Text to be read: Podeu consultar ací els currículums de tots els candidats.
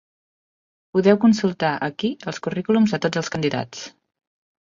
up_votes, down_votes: 0, 4